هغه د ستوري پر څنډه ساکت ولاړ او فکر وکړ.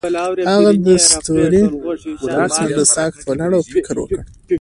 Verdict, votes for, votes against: accepted, 2, 0